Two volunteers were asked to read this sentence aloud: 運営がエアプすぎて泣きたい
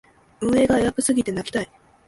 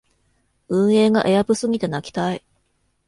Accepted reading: second